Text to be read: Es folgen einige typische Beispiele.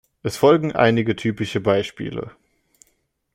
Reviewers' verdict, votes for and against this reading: accepted, 2, 0